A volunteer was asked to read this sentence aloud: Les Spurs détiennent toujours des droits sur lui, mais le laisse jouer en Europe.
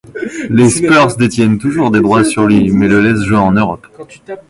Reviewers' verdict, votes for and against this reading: rejected, 1, 2